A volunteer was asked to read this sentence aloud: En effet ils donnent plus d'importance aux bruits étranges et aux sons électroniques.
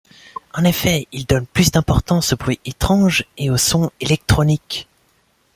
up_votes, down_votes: 2, 0